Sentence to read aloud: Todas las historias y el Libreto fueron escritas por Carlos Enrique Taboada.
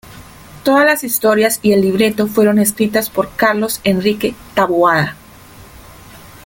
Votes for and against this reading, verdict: 3, 0, accepted